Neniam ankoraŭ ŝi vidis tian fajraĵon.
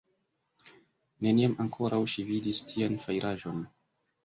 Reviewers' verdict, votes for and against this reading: rejected, 0, 2